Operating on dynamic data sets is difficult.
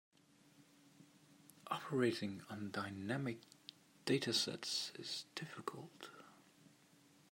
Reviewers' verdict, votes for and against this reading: accepted, 2, 0